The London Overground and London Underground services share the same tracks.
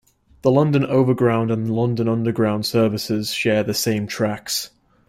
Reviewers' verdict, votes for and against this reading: accepted, 2, 0